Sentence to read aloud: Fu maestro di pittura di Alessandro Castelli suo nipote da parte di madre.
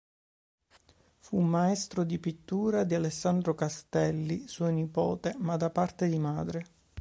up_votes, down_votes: 1, 2